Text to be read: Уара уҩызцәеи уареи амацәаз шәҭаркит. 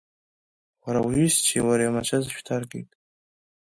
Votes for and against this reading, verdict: 3, 0, accepted